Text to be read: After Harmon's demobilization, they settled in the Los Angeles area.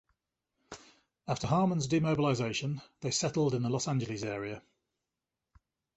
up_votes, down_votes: 2, 0